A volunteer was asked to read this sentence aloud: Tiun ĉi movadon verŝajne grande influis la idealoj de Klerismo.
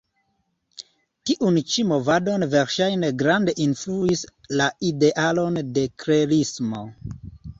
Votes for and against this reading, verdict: 1, 2, rejected